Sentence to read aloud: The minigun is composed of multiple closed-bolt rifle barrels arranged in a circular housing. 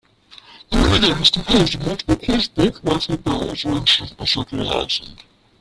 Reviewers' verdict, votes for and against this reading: rejected, 0, 2